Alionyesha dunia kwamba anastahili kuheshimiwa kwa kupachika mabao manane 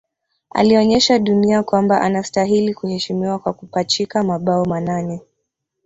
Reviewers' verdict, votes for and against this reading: rejected, 0, 2